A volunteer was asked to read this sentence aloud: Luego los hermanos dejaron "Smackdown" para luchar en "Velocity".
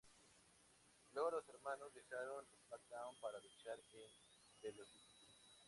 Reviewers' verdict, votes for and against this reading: rejected, 2, 4